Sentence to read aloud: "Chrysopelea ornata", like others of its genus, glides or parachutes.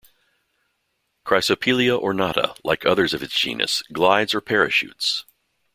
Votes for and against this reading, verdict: 1, 2, rejected